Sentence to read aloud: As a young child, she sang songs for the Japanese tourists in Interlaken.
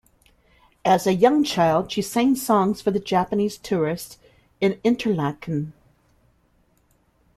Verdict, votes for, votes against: accepted, 2, 0